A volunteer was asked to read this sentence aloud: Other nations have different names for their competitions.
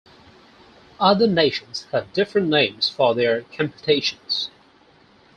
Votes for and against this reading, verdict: 0, 4, rejected